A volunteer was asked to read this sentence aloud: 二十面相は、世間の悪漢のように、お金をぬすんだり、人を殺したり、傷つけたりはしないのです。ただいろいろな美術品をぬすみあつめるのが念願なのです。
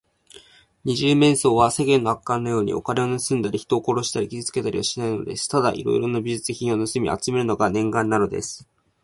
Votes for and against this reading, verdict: 1, 2, rejected